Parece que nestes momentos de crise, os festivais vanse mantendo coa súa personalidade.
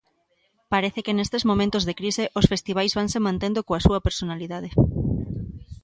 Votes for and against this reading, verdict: 2, 0, accepted